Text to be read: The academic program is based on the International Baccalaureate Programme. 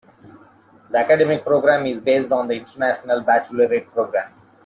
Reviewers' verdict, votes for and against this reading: rejected, 0, 2